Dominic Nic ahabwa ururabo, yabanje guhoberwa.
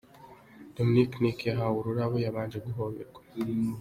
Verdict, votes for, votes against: rejected, 1, 2